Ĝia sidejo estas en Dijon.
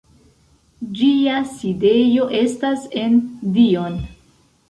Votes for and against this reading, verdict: 1, 2, rejected